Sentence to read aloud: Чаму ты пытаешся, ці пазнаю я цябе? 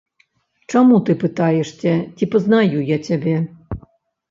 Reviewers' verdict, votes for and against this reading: rejected, 1, 2